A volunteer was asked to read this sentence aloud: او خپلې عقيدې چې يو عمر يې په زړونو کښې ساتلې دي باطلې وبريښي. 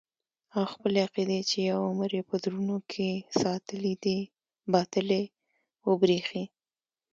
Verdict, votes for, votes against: accepted, 2, 0